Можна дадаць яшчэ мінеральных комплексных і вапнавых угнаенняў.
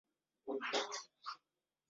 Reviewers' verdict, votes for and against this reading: rejected, 0, 2